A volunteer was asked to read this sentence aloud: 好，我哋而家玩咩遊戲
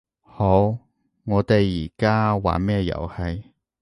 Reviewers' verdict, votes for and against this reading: accepted, 2, 0